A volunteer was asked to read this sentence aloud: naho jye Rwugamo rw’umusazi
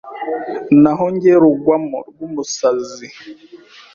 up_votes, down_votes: 1, 2